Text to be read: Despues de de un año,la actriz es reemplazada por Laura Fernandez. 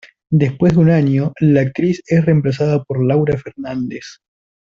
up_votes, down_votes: 1, 2